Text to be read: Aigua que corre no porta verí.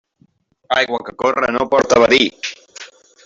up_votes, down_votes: 1, 2